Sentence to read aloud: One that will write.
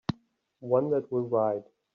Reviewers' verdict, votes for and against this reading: accepted, 3, 0